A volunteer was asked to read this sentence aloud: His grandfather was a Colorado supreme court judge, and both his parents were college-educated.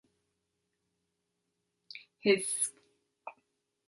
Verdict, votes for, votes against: rejected, 0, 3